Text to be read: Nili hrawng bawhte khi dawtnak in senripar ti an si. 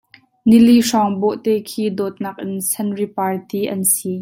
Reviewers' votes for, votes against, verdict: 2, 0, accepted